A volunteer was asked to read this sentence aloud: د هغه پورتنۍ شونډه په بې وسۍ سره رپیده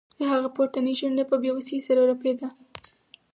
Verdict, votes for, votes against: accepted, 4, 0